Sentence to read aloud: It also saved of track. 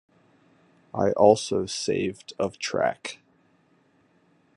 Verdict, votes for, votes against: rejected, 1, 2